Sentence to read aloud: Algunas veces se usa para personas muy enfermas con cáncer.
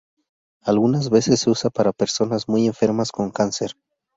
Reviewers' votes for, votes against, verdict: 2, 0, accepted